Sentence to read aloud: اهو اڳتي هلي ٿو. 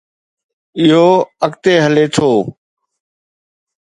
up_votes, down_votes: 2, 0